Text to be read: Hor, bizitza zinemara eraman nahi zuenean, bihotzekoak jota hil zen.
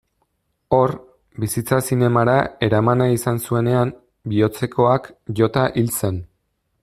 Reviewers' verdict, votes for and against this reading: rejected, 0, 2